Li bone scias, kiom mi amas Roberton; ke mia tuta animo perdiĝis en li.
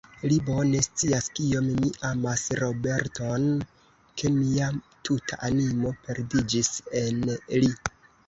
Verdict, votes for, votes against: rejected, 0, 2